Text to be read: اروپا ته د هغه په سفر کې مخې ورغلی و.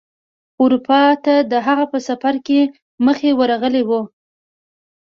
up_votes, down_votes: 2, 0